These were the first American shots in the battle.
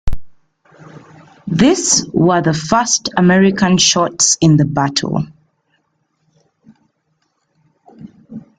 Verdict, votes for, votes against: accepted, 2, 1